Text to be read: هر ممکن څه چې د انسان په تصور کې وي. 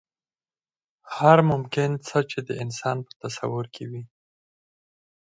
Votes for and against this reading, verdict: 2, 4, rejected